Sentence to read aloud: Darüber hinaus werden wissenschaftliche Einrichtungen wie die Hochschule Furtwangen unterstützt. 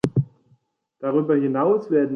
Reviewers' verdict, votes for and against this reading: rejected, 0, 2